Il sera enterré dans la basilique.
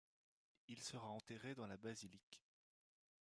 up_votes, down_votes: 1, 2